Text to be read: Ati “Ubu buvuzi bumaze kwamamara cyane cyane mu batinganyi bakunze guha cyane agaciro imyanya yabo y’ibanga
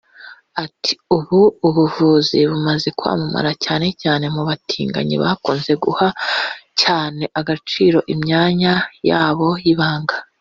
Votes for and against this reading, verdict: 1, 2, rejected